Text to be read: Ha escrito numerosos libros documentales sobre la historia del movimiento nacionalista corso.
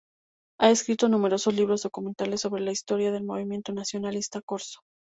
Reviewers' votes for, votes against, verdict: 4, 0, accepted